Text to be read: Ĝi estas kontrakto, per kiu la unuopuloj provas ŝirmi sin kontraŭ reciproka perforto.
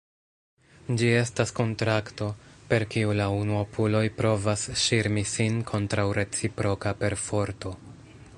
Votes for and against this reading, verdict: 2, 0, accepted